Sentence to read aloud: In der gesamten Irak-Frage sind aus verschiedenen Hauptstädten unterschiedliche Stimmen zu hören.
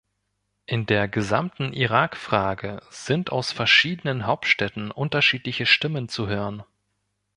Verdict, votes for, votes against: accepted, 2, 0